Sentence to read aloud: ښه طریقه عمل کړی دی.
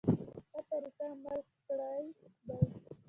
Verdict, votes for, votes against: rejected, 0, 2